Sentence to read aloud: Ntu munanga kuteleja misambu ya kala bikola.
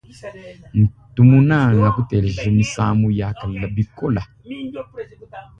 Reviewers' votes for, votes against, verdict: 1, 3, rejected